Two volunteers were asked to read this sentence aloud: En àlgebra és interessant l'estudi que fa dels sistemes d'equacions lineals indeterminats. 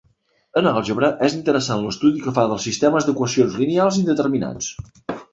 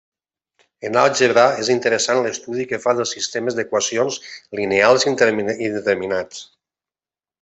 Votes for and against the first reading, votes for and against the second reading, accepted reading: 3, 1, 0, 2, first